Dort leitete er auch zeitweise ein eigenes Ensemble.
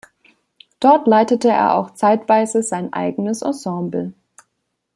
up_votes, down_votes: 1, 2